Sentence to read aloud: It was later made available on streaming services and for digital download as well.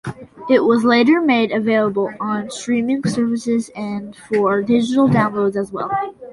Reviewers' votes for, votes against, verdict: 2, 0, accepted